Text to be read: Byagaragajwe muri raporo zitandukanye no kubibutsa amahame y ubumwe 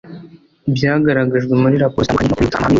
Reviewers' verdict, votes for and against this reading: rejected, 1, 2